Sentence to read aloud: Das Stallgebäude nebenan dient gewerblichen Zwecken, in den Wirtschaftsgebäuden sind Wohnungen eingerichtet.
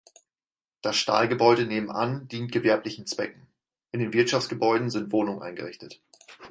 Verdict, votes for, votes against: rejected, 2, 4